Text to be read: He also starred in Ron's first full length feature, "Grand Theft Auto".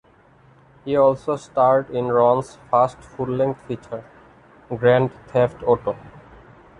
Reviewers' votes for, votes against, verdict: 3, 0, accepted